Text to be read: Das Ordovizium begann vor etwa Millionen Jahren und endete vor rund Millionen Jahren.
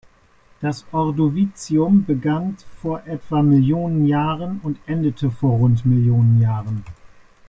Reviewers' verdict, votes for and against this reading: rejected, 1, 2